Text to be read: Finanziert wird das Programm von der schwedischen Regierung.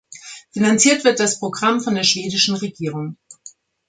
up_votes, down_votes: 2, 0